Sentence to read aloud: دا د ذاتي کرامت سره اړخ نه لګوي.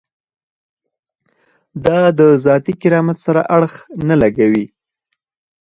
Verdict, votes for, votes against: accepted, 4, 2